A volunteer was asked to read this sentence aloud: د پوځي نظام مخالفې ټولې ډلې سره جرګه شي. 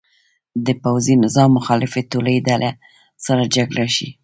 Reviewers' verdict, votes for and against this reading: accepted, 2, 1